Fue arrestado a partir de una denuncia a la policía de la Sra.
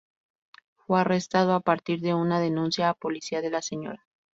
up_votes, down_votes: 0, 2